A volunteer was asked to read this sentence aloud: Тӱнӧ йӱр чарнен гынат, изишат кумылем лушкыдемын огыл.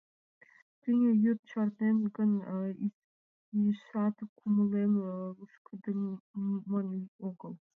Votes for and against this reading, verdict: 0, 2, rejected